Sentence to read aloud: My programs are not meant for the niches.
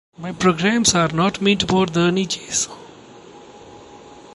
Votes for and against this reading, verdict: 2, 0, accepted